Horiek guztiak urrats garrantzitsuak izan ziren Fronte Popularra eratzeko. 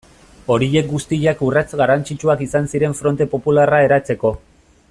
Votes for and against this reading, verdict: 2, 0, accepted